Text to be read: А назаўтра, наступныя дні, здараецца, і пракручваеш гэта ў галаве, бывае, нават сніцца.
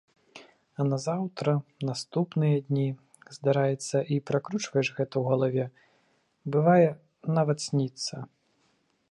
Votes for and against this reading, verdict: 3, 0, accepted